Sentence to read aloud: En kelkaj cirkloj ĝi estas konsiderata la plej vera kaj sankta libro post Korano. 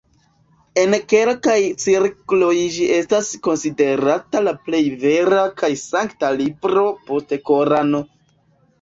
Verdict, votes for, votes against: rejected, 1, 2